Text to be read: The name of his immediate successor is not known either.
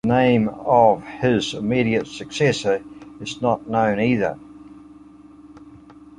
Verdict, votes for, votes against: accepted, 2, 1